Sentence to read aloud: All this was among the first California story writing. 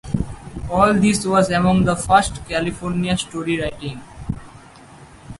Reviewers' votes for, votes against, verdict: 4, 0, accepted